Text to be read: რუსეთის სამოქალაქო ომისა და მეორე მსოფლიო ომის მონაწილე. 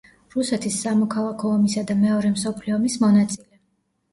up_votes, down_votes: 2, 0